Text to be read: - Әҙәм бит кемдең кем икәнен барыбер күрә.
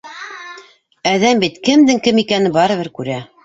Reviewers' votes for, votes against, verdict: 1, 2, rejected